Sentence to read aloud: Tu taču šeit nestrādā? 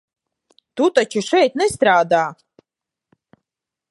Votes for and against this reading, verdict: 2, 0, accepted